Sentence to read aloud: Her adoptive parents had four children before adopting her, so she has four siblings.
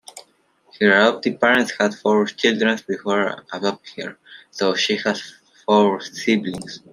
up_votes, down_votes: 2, 1